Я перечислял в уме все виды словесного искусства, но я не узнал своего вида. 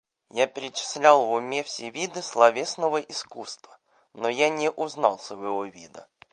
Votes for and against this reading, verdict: 2, 0, accepted